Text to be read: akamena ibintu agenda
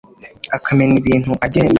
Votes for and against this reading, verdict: 2, 0, accepted